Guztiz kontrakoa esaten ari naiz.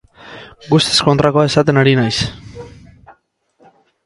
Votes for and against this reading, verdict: 6, 2, accepted